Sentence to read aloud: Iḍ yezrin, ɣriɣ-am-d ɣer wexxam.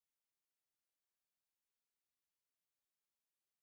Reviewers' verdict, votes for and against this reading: rejected, 0, 2